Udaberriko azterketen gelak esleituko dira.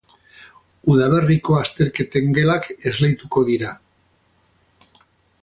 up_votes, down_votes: 0, 2